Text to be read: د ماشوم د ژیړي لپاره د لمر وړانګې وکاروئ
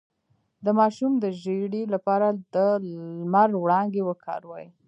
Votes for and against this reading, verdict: 2, 0, accepted